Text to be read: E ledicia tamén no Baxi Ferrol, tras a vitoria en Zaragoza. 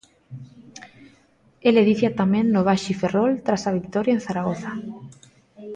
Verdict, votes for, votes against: rejected, 0, 2